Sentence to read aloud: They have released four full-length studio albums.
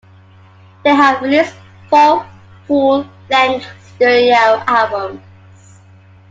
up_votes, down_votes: 0, 2